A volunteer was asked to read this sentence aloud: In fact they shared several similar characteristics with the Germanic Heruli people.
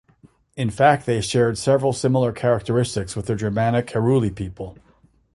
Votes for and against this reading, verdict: 2, 0, accepted